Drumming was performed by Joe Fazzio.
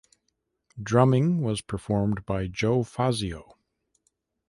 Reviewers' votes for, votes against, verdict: 2, 0, accepted